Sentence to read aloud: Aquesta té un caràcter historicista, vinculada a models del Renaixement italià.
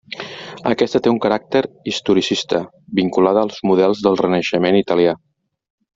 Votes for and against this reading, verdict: 1, 2, rejected